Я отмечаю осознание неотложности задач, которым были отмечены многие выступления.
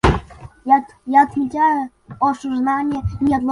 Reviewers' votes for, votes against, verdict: 0, 2, rejected